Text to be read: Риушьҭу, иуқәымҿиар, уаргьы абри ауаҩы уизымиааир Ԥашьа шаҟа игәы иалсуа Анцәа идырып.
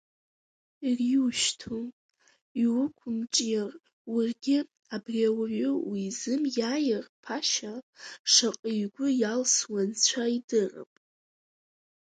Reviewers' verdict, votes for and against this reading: rejected, 1, 2